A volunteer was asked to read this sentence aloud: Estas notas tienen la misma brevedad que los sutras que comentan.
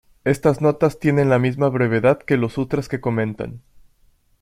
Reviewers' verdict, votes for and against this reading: accepted, 2, 0